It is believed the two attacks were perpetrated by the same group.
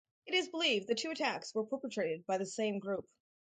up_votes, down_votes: 4, 0